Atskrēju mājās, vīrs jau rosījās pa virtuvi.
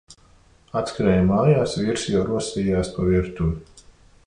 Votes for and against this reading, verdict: 2, 0, accepted